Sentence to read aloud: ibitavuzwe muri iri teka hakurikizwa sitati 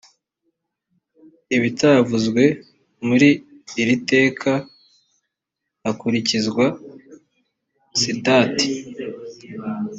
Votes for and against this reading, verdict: 2, 0, accepted